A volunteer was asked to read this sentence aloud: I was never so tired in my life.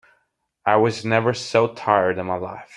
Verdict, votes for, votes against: accepted, 2, 0